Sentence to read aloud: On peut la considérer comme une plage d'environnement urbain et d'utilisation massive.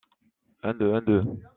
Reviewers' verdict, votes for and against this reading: rejected, 0, 2